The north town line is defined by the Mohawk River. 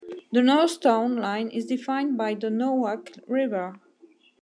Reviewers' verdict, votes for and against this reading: rejected, 0, 2